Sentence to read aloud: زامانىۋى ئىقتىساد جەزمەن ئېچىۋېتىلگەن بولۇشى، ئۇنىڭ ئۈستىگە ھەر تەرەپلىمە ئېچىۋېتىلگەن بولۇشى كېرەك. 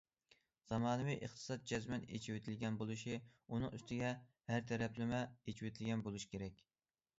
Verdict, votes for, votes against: accepted, 2, 0